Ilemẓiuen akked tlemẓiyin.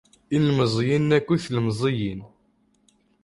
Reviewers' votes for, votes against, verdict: 0, 2, rejected